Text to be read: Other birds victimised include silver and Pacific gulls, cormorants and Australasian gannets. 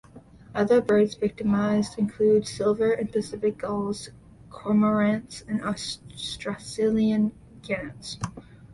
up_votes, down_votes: 0, 2